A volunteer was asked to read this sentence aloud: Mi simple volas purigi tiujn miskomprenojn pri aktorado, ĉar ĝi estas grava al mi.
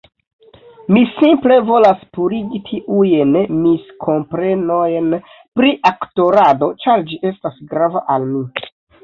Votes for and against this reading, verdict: 0, 2, rejected